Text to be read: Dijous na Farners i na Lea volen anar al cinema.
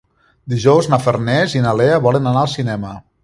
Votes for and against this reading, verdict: 3, 0, accepted